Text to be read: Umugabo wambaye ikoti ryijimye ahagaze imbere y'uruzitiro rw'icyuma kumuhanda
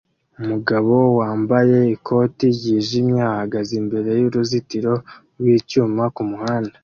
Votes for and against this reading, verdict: 2, 1, accepted